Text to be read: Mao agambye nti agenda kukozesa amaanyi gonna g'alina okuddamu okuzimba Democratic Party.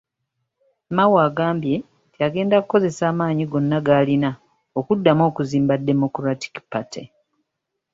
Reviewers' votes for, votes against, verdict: 2, 0, accepted